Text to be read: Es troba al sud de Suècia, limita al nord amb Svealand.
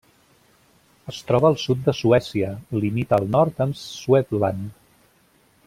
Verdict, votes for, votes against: rejected, 1, 2